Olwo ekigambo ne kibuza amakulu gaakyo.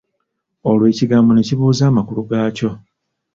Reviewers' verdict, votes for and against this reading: rejected, 1, 2